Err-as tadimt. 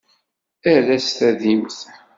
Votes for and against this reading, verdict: 2, 0, accepted